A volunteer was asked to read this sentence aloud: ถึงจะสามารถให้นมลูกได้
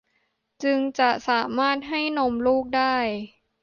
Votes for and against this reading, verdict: 0, 2, rejected